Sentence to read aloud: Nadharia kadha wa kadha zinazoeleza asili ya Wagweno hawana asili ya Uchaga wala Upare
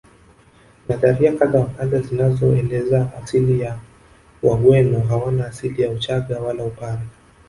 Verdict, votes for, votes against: rejected, 0, 2